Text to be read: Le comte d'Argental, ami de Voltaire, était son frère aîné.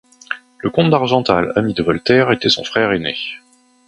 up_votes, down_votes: 2, 0